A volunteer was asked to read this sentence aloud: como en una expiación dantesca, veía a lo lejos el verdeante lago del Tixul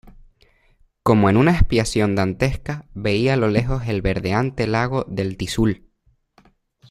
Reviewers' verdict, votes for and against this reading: accepted, 2, 1